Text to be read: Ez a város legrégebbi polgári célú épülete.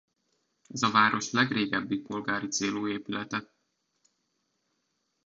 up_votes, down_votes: 2, 0